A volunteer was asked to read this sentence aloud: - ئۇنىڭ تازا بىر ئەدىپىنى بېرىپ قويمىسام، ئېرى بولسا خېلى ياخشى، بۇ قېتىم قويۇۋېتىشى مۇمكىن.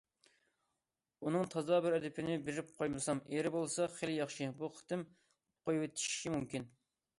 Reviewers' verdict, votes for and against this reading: accepted, 2, 0